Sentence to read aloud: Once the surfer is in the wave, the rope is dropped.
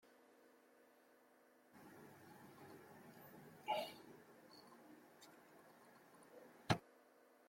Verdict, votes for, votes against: rejected, 0, 2